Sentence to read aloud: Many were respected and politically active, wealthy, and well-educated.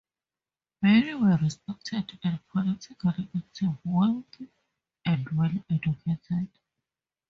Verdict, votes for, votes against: rejected, 0, 2